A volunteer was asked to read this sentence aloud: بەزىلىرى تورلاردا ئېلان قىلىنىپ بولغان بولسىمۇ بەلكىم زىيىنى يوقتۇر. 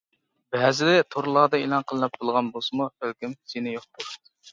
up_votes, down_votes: 1, 2